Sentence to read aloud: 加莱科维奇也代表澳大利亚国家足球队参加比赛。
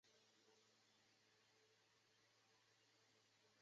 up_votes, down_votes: 0, 3